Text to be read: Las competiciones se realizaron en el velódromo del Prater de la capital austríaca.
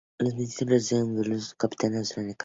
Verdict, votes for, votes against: rejected, 0, 2